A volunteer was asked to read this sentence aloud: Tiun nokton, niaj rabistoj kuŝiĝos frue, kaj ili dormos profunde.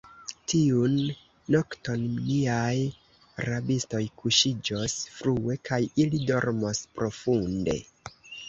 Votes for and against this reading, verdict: 0, 2, rejected